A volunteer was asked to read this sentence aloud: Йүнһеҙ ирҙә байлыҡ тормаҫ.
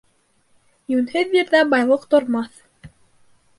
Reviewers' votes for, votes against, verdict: 2, 0, accepted